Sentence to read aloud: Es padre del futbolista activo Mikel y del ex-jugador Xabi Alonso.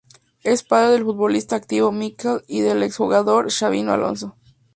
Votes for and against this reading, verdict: 2, 0, accepted